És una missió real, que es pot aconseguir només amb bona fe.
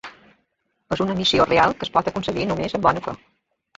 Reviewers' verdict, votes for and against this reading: rejected, 0, 2